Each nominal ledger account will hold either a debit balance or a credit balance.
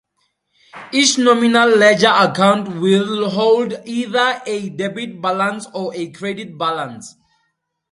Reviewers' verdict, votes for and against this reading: accepted, 2, 0